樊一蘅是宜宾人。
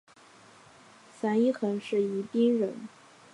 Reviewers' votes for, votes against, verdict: 4, 1, accepted